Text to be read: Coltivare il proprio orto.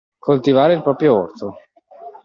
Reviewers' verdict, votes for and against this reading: accepted, 2, 0